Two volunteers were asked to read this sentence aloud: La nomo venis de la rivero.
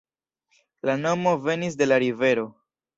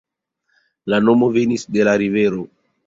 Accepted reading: first